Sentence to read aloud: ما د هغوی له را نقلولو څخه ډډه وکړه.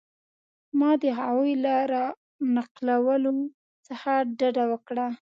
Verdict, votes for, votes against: accepted, 2, 0